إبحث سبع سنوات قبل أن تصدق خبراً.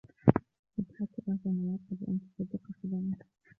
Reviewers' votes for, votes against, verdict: 1, 2, rejected